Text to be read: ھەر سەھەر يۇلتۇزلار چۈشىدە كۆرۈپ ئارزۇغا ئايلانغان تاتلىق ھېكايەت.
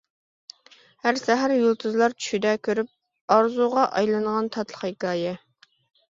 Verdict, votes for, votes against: rejected, 0, 2